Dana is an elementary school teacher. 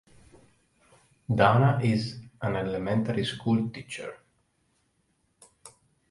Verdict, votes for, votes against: accepted, 2, 0